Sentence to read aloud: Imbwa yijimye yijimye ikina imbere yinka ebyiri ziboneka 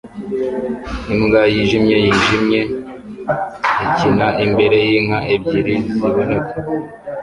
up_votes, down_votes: 1, 2